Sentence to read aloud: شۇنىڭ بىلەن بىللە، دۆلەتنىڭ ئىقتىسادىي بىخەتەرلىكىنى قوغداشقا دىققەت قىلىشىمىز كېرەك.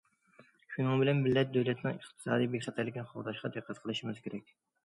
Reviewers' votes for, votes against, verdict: 2, 0, accepted